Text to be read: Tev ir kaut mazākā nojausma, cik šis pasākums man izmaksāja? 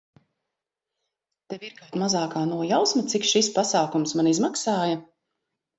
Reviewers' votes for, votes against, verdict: 0, 2, rejected